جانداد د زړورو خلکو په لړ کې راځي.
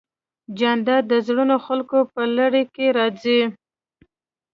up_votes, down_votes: 1, 2